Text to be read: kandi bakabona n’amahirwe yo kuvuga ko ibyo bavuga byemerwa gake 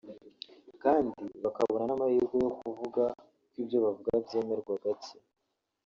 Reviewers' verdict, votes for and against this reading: rejected, 1, 3